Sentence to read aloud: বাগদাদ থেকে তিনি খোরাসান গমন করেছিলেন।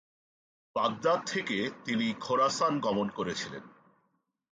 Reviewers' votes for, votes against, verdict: 3, 0, accepted